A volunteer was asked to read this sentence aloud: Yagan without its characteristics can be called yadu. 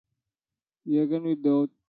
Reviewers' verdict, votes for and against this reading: rejected, 0, 2